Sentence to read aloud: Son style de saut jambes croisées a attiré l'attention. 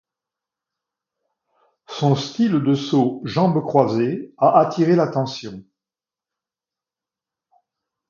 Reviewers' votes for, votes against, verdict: 2, 0, accepted